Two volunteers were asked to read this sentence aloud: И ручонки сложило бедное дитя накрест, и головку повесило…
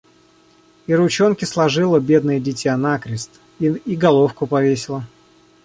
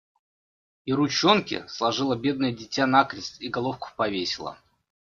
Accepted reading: second